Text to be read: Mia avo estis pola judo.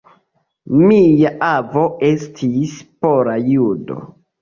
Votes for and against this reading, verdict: 2, 0, accepted